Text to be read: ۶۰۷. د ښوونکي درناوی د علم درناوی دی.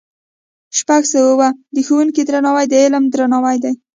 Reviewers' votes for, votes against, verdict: 0, 2, rejected